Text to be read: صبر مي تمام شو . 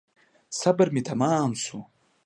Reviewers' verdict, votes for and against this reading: accepted, 2, 0